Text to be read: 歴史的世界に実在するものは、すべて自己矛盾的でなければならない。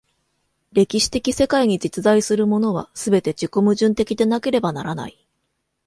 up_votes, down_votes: 2, 0